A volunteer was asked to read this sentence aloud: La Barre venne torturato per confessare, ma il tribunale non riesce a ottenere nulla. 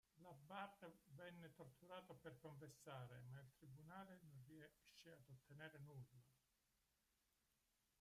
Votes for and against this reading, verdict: 0, 2, rejected